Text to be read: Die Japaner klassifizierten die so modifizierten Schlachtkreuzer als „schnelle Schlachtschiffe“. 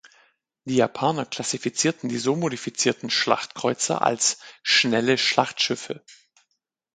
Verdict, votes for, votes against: accepted, 4, 0